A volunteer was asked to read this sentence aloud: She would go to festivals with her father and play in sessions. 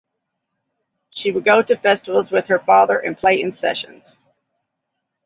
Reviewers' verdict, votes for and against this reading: accepted, 2, 0